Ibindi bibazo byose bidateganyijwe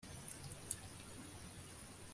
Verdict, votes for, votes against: rejected, 0, 2